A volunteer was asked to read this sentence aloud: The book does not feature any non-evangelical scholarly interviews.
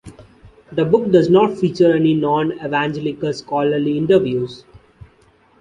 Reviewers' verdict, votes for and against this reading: accepted, 2, 0